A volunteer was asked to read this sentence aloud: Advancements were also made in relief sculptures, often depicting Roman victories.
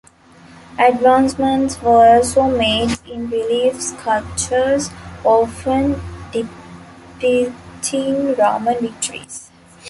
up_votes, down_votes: 1, 2